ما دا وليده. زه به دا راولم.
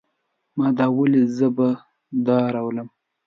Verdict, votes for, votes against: accepted, 2, 0